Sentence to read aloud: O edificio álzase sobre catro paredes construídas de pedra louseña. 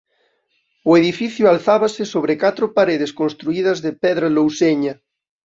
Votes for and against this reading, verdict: 0, 2, rejected